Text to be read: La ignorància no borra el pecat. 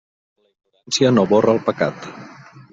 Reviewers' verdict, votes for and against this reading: rejected, 0, 2